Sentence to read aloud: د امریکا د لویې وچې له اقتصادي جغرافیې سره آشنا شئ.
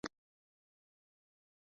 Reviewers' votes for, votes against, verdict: 0, 2, rejected